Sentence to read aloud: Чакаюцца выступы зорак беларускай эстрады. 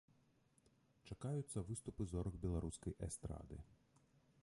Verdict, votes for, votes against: rejected, 1, 2